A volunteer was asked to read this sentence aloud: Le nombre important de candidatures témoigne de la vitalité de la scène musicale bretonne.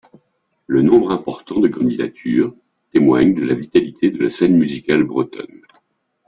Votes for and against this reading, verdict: 1, 2, rejected